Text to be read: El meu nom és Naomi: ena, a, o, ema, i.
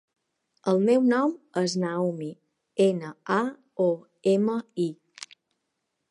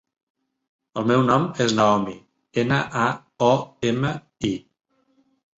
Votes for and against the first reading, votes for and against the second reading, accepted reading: 1, 2, 3, 0, second